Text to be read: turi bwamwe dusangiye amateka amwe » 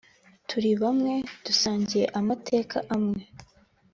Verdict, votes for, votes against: accepted, 3, 0